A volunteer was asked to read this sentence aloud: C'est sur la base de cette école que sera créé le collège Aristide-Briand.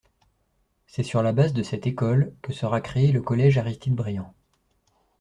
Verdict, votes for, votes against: accepted, 2, 0